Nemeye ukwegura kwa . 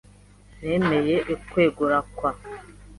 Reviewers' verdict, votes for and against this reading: accepted, 2, 0